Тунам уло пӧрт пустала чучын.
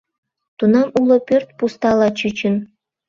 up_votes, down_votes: 1, 2